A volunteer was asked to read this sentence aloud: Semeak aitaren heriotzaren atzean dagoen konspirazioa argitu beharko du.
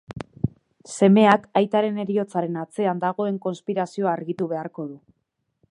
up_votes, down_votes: 2, 0